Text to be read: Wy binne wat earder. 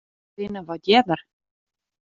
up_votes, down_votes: 1, 2